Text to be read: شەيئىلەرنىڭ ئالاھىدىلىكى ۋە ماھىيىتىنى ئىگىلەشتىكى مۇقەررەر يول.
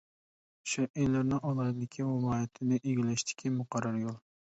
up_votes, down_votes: 0, 2